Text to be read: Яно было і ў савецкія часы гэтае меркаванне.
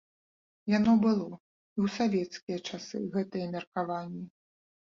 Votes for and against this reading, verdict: 2, 0, accepted